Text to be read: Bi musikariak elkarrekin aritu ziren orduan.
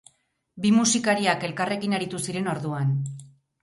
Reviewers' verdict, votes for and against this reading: accepted, 8, 0